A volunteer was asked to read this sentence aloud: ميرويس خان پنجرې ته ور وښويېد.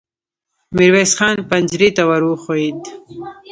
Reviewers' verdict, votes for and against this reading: accepted, 2, 0